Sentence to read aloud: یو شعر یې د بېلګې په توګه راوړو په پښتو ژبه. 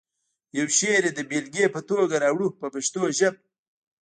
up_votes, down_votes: 1, 2